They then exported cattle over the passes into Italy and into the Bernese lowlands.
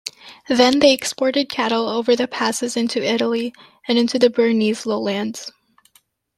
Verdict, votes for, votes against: rejected, 0, 2